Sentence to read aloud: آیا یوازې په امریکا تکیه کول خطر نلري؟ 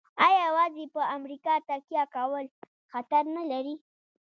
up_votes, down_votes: 0, 2